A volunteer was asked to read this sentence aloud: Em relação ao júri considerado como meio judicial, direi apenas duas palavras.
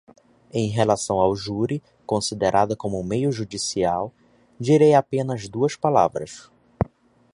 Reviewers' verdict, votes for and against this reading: rejected, 0, 2